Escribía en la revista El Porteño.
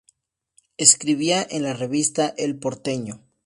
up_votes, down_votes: 4, 0